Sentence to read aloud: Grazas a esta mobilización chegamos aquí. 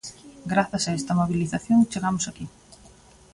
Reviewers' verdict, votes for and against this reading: accepted, 2, 1